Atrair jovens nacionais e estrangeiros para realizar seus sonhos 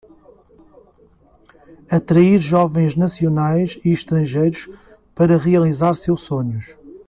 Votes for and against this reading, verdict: 2, 0, accepted